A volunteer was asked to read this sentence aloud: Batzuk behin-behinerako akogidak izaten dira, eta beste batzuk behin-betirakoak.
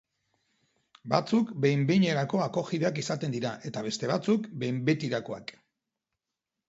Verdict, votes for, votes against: accepted, 3, 0